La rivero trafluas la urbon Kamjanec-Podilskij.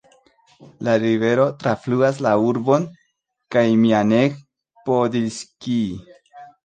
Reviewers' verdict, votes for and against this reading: rejected, 1, 2